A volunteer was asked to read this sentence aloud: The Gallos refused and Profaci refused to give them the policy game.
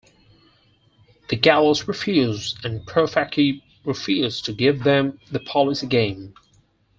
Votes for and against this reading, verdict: 4, 0, accepted